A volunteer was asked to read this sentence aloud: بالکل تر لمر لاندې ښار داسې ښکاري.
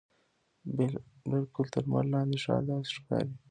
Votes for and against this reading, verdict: 1, 2, rejected